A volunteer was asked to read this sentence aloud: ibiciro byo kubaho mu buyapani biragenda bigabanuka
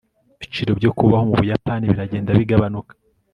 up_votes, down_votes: 2, 0